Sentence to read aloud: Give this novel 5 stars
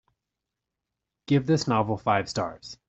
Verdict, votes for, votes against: rejected, 0, 2